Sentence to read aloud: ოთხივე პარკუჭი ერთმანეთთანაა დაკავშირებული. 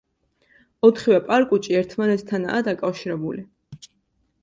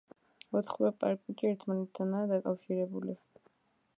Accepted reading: first